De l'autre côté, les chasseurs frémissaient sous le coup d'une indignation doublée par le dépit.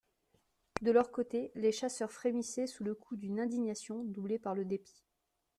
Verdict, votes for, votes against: rejected, 0, 2